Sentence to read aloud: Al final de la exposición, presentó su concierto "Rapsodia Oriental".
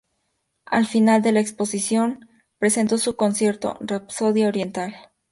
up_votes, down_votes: 4, 0